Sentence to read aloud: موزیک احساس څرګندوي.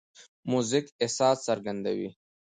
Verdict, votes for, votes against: accepted, 2, 0